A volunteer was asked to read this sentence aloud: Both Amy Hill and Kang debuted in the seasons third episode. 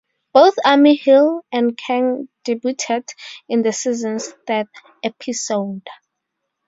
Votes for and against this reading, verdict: 2, 2, rejected